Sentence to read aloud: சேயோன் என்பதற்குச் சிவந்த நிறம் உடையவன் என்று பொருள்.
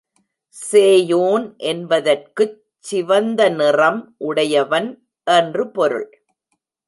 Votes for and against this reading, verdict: 2, 0, accepted